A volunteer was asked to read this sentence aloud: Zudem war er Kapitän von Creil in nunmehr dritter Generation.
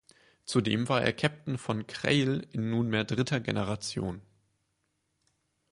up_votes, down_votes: 2, 4